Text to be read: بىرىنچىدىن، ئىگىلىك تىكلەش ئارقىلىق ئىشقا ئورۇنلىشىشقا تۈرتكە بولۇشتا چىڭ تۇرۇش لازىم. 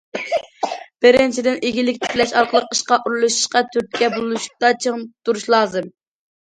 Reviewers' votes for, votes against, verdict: 0, 2, rejected